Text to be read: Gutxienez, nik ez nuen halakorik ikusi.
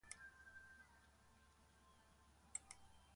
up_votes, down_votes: 0, 2